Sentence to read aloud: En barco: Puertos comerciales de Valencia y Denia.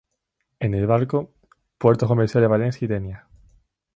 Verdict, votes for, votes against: accepted, 2, 0